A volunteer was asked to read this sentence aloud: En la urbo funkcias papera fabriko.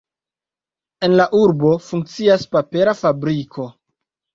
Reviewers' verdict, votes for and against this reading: accepted, 2, 0